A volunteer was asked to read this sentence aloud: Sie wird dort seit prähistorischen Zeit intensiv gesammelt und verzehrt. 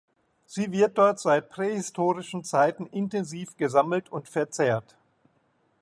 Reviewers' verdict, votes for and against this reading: rejected, 1, 2